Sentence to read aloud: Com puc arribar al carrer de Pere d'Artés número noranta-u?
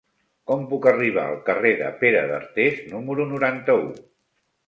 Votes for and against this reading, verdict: 2, 1, accepted